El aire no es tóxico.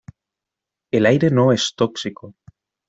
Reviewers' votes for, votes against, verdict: 2, 0, accepted